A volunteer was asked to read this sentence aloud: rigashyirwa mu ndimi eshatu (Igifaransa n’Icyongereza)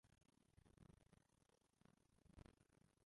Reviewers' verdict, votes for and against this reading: rejected, 0, 2